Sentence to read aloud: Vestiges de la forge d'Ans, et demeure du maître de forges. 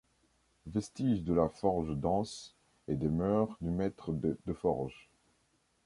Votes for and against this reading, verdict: 0, 2, rejected